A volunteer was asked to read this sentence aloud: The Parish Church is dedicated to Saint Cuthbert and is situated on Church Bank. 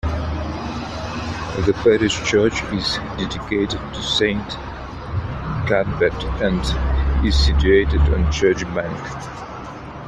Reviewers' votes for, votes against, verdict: 2, 1, accepted